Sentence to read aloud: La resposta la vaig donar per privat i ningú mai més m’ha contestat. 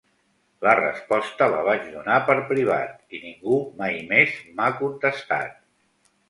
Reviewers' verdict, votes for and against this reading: accepted, 2, 0